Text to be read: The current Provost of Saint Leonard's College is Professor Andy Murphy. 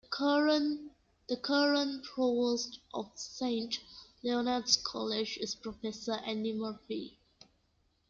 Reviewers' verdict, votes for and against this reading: accepted, 2, 1